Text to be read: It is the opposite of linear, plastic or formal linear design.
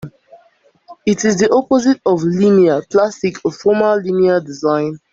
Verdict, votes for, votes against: accepted, 2, 0